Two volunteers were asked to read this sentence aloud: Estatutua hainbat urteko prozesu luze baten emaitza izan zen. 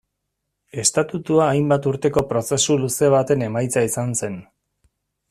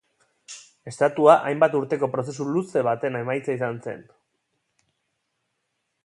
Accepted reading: first